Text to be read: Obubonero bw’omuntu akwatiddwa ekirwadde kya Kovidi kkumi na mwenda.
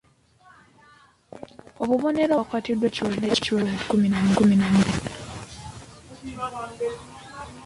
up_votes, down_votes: 0, 2